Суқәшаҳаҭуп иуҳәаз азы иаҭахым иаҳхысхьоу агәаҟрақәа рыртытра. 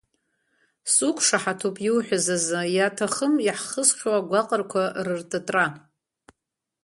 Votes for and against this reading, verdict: 2, 0, accepted